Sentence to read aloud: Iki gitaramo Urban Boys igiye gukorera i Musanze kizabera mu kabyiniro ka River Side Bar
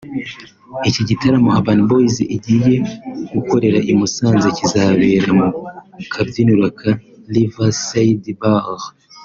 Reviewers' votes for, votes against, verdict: 2, 0, accepted